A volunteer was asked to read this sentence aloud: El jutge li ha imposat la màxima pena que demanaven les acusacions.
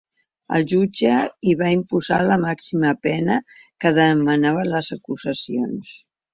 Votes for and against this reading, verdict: 0, 3, rejected